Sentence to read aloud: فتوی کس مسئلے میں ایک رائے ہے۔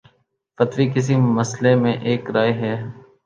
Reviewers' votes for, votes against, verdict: 1, 2, rejected